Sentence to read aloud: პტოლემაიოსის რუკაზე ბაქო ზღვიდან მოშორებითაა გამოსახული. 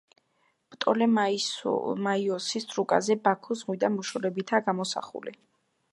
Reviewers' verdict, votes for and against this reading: accepted, 2, 0